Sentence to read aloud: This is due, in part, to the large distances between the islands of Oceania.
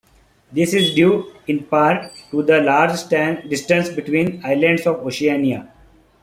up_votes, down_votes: 0, 3